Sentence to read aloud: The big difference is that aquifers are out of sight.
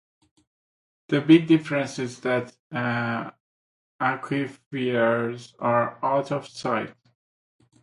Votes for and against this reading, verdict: 0, 2, rejected